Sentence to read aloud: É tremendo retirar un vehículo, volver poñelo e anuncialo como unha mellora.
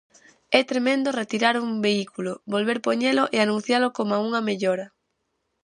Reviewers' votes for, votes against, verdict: 0, 4, rejected